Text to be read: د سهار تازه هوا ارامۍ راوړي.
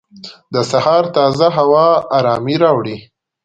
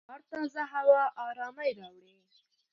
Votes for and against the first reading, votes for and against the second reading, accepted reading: 2, 0, 1, 2, first